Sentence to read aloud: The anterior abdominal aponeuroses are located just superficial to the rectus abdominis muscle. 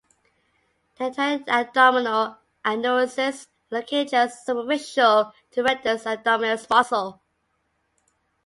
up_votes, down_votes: 0, 3